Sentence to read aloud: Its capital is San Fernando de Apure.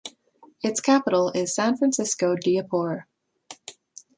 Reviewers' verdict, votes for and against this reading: rejected, 0, 3